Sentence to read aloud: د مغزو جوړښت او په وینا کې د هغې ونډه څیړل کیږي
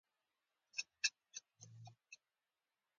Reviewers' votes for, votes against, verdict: 1, 2, rejected